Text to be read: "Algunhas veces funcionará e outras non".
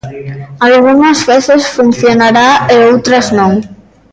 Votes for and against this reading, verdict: 1, 2, rejected